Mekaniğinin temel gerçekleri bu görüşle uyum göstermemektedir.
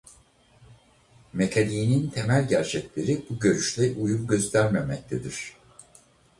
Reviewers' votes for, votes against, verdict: 2, 2, rejected